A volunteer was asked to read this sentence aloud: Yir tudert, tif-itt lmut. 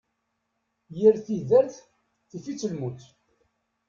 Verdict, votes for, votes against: rejected, 1, 2